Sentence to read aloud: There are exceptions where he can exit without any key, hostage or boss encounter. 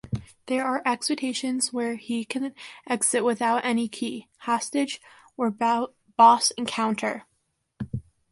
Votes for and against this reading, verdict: 1, 2, rejected